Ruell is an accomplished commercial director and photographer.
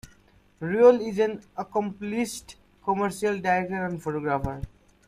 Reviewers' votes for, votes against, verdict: 1, 2, rejected